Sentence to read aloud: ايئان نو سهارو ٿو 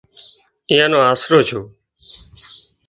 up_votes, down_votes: 0, 2